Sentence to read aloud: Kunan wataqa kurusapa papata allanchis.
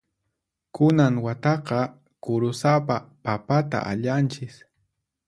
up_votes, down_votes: 4, 0